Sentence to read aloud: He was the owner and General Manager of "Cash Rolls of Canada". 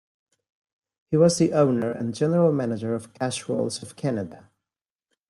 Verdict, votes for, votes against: accepted, 2, 0